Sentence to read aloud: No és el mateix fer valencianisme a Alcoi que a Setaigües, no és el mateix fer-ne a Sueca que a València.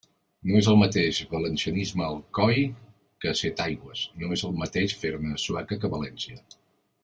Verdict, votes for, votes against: rejected, 0, 2